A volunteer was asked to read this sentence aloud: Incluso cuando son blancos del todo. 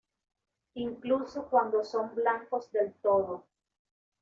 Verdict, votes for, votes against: accepted, 2, 0